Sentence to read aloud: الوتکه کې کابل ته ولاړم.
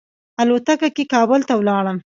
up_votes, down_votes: 1, 2